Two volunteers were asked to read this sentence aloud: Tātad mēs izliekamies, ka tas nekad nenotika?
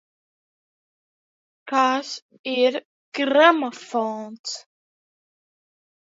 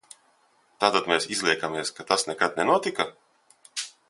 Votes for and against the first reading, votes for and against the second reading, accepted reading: 0, 2, 2, 1, second